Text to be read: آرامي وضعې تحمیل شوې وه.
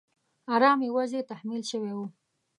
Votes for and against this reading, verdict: 0, 2, rejected